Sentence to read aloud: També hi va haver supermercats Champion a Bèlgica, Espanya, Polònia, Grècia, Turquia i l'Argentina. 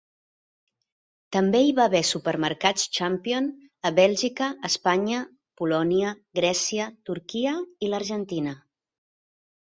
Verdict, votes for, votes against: accepted, 3, 0